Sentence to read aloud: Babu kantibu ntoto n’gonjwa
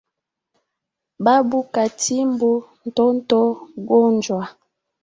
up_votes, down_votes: 1, 2